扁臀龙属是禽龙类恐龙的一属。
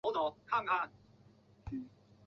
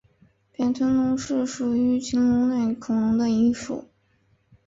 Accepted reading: second